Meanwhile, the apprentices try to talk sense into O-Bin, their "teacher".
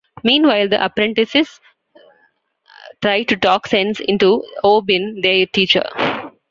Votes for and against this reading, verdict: 0, 2, rejected